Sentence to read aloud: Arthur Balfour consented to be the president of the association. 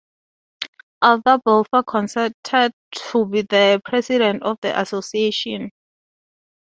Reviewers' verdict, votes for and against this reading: accepted, 2, 0